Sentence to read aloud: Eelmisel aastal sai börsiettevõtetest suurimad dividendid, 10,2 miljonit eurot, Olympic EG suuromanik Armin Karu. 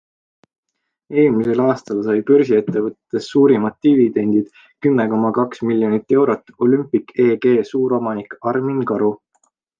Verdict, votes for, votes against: rejected, 0, 2